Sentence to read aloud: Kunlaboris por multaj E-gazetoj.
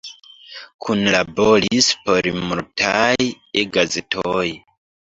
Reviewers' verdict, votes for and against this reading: rejected, 1, 2